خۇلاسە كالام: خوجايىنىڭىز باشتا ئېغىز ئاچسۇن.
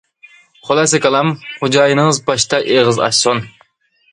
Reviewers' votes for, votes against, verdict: 2, 1, accepted